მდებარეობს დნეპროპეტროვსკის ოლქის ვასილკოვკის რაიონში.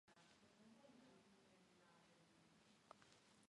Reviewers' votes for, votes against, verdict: 0, 2, rejected